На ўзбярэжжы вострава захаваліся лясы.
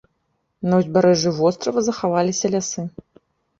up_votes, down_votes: 3, 0